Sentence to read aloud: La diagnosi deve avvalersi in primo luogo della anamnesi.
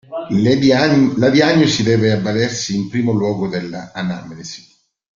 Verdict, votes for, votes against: rejected, 1, 2